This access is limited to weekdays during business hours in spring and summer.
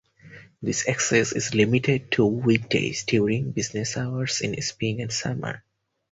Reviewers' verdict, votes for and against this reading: accepted, 4, 0